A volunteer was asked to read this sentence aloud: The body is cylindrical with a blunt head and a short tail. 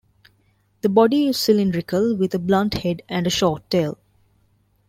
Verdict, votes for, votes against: rejected, 1, 2